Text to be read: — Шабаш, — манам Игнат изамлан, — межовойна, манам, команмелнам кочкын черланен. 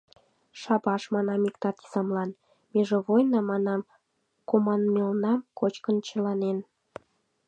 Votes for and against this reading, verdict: 0, 2, rejected